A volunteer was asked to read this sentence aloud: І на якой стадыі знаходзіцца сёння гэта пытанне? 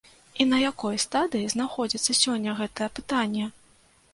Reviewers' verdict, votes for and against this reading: rejected, 1, 2